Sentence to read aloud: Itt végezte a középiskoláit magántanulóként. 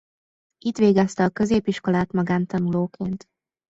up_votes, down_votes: 1, 2